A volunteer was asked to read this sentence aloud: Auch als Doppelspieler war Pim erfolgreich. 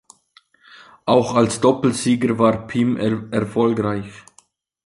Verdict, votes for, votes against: rejected, 0, 2